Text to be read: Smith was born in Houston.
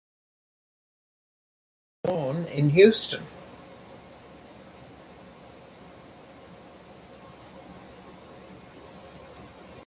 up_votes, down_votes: 0, 2